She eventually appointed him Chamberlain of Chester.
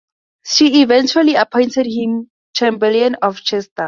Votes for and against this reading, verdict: 2, 0, accepted